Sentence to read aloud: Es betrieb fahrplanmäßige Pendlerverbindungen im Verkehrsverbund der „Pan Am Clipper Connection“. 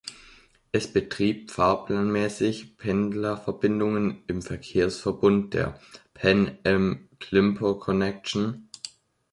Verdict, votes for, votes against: rejected, 0, 2